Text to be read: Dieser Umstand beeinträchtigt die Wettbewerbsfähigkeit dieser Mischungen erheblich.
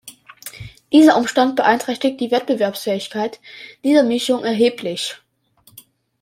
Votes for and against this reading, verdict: 0, 2, rejected